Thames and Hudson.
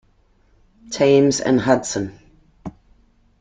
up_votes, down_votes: 0, 2